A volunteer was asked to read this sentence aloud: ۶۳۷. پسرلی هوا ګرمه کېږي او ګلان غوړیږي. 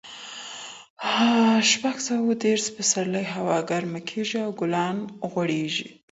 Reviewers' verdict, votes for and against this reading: rejected, 0, 2